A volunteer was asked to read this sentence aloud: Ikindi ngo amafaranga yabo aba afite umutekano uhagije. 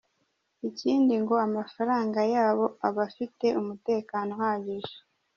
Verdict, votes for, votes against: rejected, 0, 2